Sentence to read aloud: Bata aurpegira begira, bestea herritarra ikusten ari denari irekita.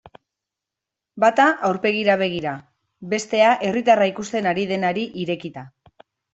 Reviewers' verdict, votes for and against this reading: accepted, 2, 0